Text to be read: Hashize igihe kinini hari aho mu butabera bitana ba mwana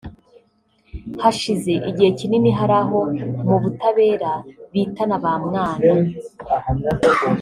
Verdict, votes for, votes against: rejected, 1, 2